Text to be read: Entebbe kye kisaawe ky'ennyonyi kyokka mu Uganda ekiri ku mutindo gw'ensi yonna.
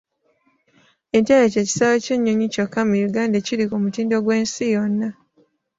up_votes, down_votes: 2, 0